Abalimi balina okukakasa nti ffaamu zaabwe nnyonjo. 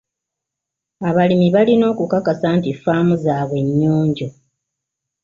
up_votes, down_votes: 2, 0